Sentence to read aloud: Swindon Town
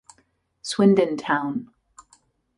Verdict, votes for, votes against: accepted, 2, 0